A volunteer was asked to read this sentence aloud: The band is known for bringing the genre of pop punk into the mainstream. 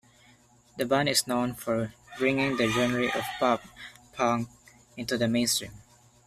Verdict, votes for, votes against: rejected, 1, 2